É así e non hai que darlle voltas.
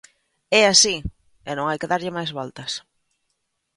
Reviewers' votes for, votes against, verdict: 0, 2, rejected